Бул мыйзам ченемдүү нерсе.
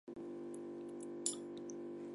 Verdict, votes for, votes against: accepted, 2, 1